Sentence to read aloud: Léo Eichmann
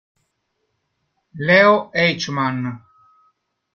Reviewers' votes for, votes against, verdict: 1, 2, rejected